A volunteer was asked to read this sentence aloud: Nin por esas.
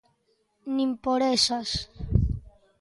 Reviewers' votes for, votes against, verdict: 2, 0, accepted